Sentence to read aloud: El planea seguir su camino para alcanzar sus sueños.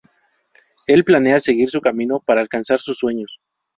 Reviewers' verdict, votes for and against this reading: rejected, 0, 2